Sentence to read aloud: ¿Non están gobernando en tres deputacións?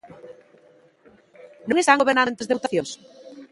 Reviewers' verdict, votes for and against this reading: rejected, 0, 2